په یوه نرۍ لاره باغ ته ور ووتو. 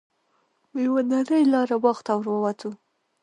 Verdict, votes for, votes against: accepted, 2, 1